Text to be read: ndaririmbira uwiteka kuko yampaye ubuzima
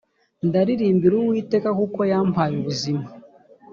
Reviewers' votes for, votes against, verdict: 2, 0, accepted